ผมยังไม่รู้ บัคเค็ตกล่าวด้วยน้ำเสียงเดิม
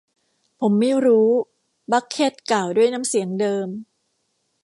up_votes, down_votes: 1, 2